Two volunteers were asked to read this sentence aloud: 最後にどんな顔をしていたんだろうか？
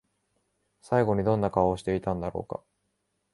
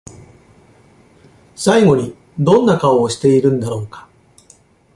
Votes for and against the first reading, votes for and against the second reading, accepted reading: 2, 0, 0, 2, first